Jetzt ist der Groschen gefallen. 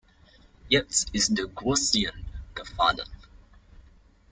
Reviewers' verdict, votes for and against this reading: rejected, 1, 2